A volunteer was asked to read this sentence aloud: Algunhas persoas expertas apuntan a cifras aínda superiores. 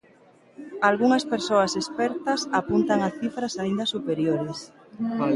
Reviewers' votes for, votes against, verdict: 0, 2, rejected